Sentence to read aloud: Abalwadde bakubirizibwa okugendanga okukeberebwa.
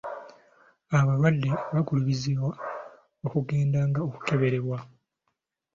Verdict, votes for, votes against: rejected, 1, 2